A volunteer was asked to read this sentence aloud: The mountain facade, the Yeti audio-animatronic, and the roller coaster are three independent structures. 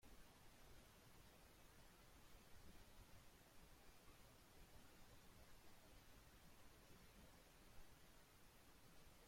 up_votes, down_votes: 0, 2